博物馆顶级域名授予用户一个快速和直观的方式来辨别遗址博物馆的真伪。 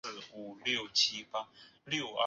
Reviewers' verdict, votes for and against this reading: rejected, 0, 2